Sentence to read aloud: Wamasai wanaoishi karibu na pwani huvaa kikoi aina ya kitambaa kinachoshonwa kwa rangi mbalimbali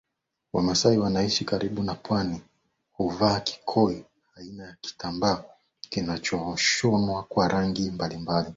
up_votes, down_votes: 2, 0